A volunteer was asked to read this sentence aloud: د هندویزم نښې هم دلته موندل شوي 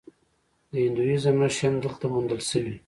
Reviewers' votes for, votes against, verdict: 1, 2, rejected